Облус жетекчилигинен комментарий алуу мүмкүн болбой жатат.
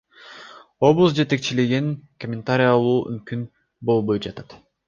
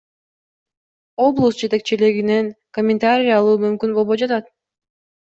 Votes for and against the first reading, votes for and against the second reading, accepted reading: 0, 2, 2, 0, second